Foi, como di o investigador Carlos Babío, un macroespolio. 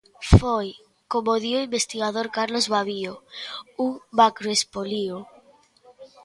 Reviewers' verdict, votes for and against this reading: rejected, 0, 2